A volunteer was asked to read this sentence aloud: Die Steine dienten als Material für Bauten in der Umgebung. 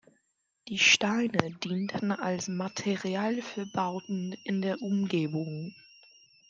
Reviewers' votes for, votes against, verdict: 2, 0, accepted